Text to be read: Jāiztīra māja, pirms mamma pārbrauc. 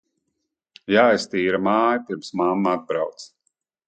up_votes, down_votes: 1, 2